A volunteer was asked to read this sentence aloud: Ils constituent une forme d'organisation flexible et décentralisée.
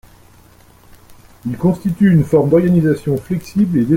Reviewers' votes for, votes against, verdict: 0, 2, rejected